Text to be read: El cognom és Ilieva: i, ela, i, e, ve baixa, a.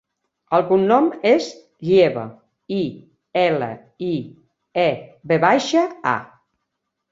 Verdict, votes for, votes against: rejected, 1, 2